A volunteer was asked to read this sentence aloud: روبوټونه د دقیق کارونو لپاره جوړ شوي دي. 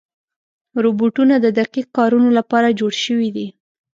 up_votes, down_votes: 2, 0